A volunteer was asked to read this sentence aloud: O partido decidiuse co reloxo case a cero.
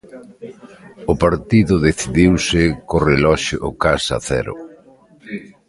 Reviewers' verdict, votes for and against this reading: rejected, 1, 2